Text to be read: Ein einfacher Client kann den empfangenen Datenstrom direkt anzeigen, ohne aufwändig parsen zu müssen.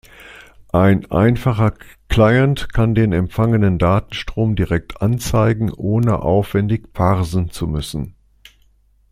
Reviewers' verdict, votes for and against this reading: accepted, 2, 0